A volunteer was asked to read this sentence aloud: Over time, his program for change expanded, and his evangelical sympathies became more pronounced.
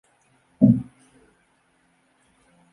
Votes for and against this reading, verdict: 0, 2, rejected